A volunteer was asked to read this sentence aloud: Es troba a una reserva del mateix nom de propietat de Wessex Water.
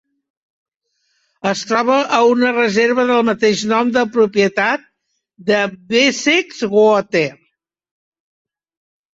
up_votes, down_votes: 1, 2